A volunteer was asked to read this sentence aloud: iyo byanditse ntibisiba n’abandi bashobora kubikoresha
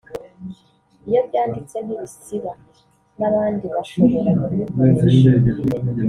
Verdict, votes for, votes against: rejected, 1, 2